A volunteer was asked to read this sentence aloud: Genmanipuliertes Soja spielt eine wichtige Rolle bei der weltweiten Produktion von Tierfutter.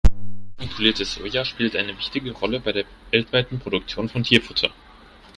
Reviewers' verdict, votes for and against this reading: rejected, 1, 2